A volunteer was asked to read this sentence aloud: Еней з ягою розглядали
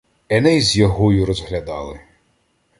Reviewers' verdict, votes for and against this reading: accepted, 2, 0